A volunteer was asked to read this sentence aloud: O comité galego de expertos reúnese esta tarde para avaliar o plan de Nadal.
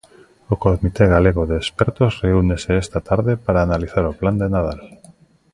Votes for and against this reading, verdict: 0, 2, rejected